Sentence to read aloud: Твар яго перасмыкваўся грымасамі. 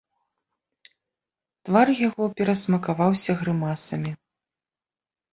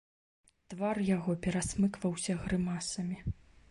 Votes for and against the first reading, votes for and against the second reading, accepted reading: 0, 2, 2, 0, second